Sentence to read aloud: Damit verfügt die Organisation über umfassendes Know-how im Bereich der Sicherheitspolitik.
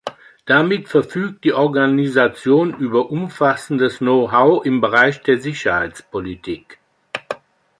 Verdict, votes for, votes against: rejected, 1, 2